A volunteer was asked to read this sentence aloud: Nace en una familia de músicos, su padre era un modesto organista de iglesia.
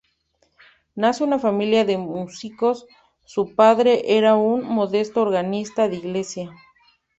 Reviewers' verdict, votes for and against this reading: rejected, 0, 2